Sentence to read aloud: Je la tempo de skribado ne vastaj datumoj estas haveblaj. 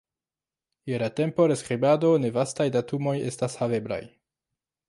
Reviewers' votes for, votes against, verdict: 0, 2, rejected